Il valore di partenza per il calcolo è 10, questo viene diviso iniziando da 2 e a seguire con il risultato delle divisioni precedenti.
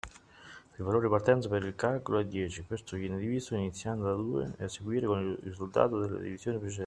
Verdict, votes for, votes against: rejected, 0, 2